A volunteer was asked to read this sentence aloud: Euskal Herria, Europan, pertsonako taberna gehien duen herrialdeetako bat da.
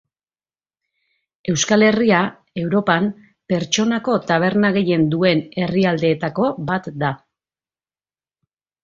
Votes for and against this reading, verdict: 2, 0, accepted